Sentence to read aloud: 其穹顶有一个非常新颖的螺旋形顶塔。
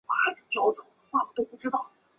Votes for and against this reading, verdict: 1, 5, rejected